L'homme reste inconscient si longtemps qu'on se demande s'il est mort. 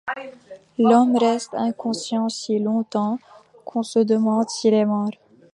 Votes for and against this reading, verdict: 2, 1, accepted